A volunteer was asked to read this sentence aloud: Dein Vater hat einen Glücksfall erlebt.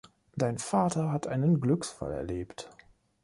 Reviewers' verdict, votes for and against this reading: accepted, 3, 0